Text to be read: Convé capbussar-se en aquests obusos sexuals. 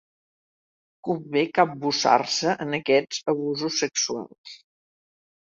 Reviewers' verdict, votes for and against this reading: rejected, 1, 2